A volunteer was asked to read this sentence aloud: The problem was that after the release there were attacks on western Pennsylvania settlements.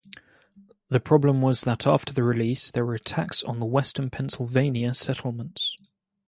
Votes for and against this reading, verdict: 2, 0, accepted